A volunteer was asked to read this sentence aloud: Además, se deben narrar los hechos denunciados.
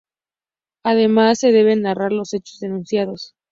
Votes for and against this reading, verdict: 2, 0, accepted